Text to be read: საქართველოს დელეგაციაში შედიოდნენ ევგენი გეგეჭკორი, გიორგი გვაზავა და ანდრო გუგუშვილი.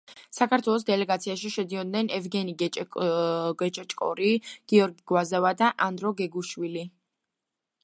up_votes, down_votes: 2, 0